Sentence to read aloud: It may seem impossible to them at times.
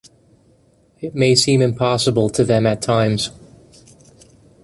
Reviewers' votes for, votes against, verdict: 2, 0, accepted